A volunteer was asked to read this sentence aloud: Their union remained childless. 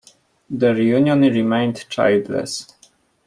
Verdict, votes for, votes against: accepted, 2, 0